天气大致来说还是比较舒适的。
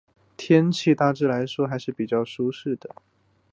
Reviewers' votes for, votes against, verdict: 2, 1, accepted